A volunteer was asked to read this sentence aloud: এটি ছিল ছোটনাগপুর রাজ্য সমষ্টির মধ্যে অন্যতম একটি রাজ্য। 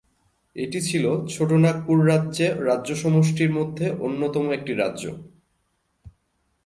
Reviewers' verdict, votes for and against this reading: rejected, 1, 2